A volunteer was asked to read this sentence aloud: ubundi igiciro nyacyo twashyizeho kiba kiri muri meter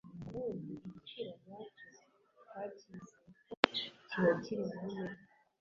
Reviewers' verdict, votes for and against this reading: rejected, 0, 2